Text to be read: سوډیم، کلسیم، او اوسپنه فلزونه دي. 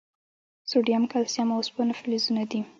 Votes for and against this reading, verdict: 0, 2, rejected